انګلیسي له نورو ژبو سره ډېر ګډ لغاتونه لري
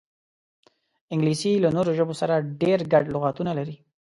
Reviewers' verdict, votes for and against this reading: accepted, 2, 0